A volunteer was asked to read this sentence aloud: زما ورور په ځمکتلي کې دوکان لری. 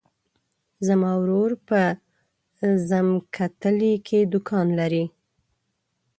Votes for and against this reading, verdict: 1, 2, rejected